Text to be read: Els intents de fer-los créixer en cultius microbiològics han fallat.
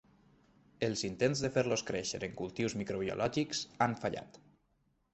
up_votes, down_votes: 3, 0